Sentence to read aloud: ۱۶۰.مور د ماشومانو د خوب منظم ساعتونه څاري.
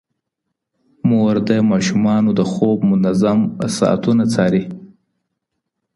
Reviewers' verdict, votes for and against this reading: rejected, 0, 2